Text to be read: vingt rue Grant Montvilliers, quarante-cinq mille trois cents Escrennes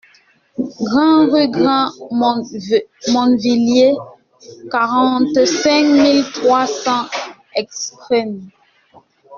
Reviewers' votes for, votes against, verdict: 1, 2, rejected